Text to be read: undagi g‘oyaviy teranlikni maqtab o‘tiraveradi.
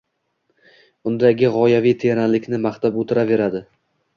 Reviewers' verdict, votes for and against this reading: rejected, 1, 2